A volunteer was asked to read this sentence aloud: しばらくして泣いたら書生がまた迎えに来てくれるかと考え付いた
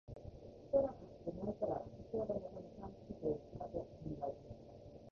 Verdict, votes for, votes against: rejected, 0, 2